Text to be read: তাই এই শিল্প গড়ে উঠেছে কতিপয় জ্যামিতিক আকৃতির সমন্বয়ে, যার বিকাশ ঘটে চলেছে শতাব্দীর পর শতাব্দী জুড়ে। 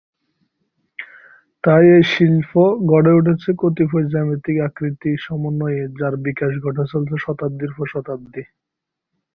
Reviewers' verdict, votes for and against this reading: rejected, 2, 3